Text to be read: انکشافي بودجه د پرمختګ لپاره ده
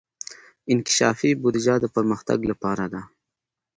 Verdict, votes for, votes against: accepted, 3, 0